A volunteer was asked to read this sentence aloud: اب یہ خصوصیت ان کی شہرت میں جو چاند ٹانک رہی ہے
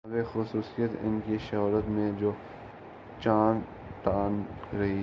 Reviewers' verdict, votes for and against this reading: rejected, 2, 3